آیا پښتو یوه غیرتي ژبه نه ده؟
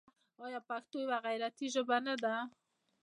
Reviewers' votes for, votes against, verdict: 2, 0, accepted